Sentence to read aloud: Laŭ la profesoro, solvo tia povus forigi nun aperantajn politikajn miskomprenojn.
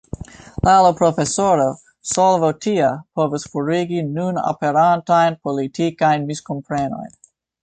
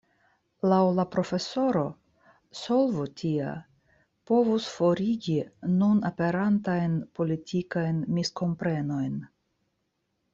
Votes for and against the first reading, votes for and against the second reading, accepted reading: 1, 2, 2, 0, second